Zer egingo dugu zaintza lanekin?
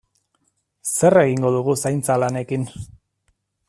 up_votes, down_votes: 3, 0